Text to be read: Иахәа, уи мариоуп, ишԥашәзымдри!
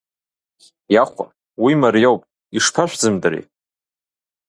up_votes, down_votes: 2, 0